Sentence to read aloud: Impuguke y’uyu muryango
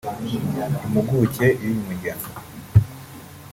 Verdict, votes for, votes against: rejected, 1, 2